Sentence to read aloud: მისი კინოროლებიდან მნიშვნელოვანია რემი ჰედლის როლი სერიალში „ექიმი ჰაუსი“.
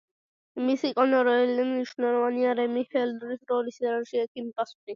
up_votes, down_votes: 0, 2